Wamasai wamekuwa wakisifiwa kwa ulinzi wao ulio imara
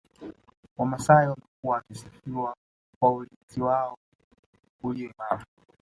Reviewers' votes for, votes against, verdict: 1, 2, rejected